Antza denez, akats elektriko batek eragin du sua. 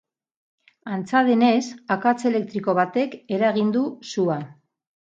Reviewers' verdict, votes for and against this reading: accepted, 4, 0